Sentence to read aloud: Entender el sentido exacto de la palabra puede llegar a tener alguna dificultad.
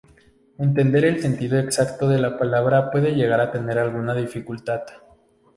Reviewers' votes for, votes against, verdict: 2, 0, accepted